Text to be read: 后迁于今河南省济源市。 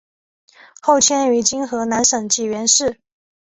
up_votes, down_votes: 2, 0